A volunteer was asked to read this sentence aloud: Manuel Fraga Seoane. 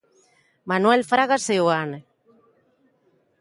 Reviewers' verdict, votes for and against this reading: accepted, 2, 0